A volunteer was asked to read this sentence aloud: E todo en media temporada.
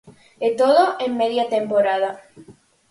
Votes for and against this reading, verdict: 4, 0, accepted